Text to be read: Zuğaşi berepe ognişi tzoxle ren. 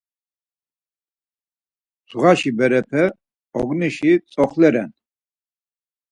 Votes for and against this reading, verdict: 4, 0, accepted